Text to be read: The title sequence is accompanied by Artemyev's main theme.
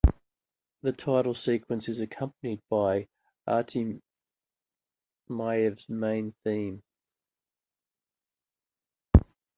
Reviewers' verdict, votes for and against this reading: rejected, 0, 2